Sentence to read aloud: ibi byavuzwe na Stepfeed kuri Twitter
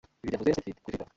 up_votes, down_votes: 0, 2